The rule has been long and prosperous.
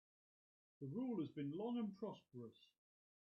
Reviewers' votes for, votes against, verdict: 0, 2, rejected